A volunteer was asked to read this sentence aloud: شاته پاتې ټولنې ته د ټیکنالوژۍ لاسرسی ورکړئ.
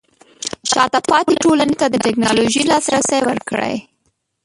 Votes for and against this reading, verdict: 0, 2, rejected